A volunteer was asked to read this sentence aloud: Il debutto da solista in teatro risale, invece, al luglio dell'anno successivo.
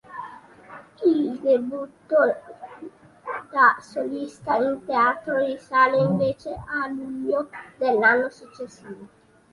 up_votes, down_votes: 1, 2